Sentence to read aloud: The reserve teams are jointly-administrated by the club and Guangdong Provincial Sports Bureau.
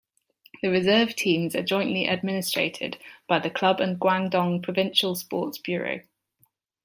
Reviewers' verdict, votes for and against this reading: accepted, 2, 0